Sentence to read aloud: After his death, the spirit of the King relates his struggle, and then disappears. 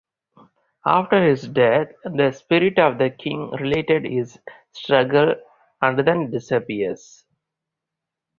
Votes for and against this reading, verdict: 0, 4, rejected